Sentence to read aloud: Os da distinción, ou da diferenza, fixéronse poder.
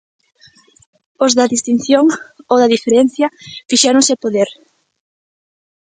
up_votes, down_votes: 0, 2